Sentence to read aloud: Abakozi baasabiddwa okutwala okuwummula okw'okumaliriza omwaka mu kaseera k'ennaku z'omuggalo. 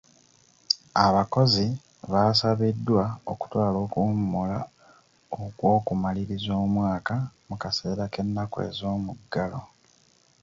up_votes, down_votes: 2, 0